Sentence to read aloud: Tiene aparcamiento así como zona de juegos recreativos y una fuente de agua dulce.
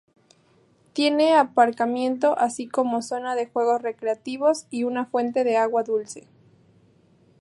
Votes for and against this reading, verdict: 0, 2, rejected